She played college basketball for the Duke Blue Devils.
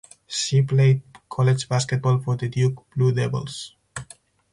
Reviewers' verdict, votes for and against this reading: accepted, 4, 0